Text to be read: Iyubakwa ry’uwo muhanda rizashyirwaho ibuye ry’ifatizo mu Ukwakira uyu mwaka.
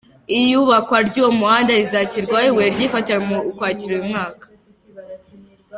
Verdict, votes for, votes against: rejected, 1, 3